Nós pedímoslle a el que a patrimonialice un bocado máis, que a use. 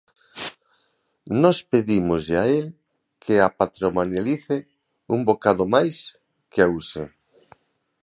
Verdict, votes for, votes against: rejected, 1, 2